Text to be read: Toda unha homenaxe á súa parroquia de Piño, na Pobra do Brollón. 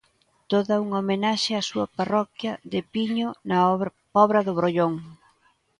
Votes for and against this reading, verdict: 0, 2, rejected